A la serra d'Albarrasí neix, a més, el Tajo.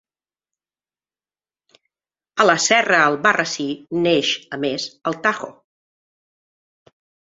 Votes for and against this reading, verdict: 1, 2, rejected